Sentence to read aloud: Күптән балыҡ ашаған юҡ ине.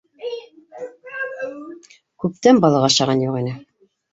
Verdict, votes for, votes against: rejected, 0, 2